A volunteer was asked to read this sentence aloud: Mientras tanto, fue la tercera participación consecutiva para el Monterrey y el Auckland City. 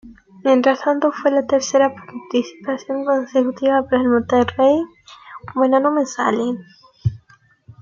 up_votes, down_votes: 0, 2